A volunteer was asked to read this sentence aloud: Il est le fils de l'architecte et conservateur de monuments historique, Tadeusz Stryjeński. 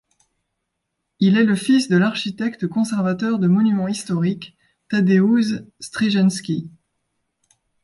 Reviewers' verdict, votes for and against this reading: rejected, 0, 2